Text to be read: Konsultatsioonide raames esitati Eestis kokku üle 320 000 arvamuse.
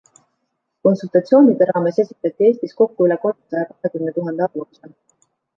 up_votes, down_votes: 0, 2